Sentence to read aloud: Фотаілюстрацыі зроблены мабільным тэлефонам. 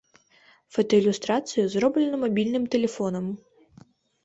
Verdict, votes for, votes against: accepted, 2, 0